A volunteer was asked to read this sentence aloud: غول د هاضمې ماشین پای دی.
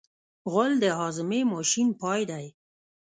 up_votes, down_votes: 1, 2